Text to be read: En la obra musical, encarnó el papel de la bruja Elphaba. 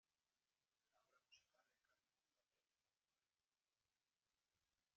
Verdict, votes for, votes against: rejected, 0, 2